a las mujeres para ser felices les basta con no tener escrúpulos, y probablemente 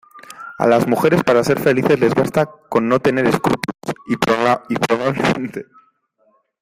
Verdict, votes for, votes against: rejected, 0, 2